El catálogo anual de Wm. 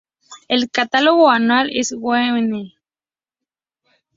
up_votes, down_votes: 0, 2